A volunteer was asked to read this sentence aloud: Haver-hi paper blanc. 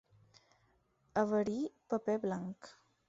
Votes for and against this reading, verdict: 4, 0, accepted